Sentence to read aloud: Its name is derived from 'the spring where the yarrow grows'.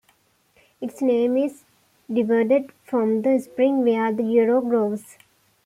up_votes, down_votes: 0, 2